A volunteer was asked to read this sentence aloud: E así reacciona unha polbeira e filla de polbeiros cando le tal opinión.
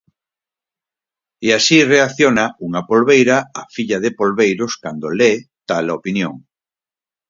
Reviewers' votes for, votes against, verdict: 2, 4, rejected